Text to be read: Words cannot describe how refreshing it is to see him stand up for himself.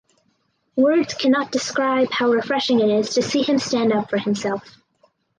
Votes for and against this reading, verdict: 4, 0, accepted